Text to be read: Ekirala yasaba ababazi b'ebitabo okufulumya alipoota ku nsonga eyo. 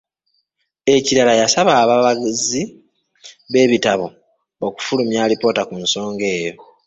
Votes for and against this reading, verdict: 2, 3, rejected